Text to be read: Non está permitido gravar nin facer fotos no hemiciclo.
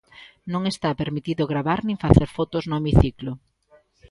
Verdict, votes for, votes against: rejected, 1, 2